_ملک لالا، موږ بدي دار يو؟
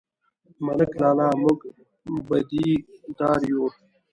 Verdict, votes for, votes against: accepted, 2, 0